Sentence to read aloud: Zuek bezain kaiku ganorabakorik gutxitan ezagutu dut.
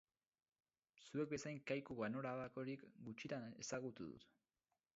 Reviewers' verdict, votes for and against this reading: accepted, 4, 2